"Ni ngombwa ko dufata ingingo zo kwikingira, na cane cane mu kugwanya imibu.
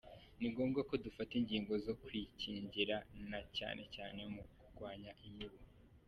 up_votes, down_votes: 0, 2